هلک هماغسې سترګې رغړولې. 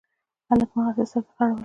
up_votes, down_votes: 1, 2